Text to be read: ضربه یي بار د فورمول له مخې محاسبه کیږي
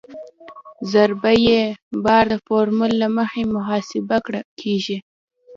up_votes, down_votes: 1, 2